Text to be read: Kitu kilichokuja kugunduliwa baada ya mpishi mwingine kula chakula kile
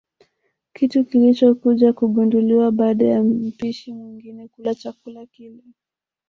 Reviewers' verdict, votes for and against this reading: accepted, 2, 1